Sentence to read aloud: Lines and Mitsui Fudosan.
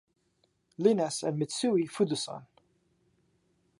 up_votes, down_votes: 1, 2